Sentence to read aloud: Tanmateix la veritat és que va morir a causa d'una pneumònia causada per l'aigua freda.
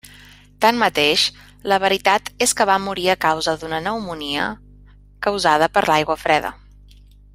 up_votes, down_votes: 1, 2